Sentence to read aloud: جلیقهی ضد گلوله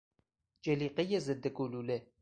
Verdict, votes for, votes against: accepted, 4, 0